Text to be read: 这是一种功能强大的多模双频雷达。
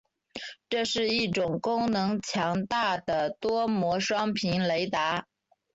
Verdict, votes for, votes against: accepted, 4, 0